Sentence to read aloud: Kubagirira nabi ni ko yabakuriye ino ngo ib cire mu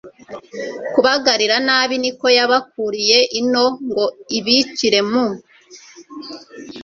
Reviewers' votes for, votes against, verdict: 0, 2, rejected